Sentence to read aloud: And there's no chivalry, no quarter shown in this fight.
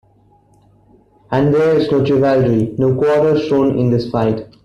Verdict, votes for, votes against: accepted, 2, 1